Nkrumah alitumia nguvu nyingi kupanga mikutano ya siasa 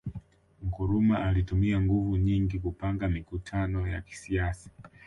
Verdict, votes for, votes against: accepted, 2, 0